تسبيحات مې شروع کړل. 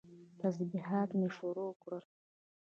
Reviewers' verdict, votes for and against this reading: rejected, 0, 2